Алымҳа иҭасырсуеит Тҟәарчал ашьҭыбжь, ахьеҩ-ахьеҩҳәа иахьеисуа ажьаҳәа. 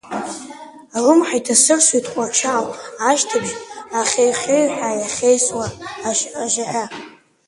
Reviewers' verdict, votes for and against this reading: rejected, 0, 2